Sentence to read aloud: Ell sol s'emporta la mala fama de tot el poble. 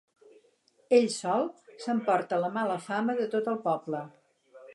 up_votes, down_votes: 6, 0